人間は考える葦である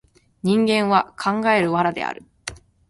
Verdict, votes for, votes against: rejected, 0, 2